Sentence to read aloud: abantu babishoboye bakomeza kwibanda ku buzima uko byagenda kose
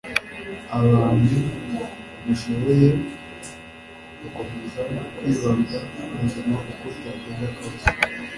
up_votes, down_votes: 2, 0